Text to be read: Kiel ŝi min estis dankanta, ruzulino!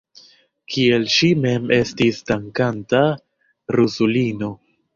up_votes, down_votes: 0, 2